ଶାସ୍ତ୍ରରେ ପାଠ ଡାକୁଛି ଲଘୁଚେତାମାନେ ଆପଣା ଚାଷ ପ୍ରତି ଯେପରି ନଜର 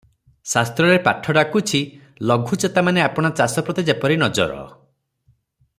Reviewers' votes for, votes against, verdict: 3, 0, accepted